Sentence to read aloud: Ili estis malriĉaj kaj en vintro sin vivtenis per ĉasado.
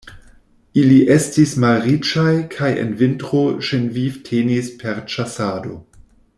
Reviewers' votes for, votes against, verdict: 1, 2, rejected